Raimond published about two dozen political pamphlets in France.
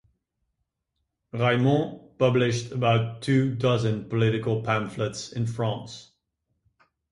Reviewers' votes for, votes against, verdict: 2, 2, rejected